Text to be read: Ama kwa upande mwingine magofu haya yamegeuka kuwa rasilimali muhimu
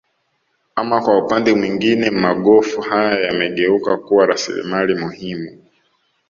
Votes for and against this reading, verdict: 2, 0, accepted